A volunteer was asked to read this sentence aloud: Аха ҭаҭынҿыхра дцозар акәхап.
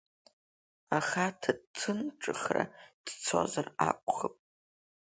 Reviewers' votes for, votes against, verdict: 3, 1, accepted